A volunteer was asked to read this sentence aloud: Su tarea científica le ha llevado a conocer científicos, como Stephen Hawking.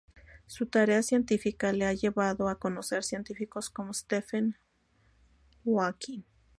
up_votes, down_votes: 2, 2